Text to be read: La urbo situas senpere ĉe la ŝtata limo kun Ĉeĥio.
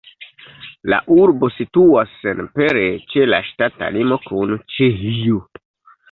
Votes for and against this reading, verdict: 0, 2, rejected